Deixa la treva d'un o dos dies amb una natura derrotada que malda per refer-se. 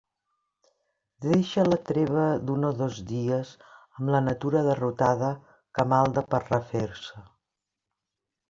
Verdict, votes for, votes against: rejected, 0, 2